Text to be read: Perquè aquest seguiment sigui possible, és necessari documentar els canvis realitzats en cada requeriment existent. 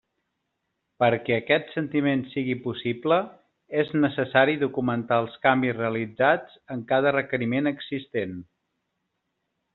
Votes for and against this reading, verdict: 1, 2, rejected